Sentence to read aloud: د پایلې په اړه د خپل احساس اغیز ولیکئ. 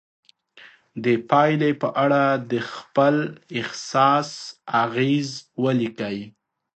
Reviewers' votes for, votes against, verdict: 2, 0, accepted